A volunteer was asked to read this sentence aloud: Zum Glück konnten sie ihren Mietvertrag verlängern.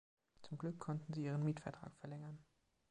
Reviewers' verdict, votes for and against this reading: rejected, 1, 2